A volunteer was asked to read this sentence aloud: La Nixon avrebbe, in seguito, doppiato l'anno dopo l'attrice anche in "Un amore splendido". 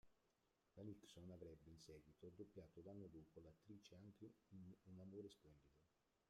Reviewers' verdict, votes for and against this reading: rejected, 0, 2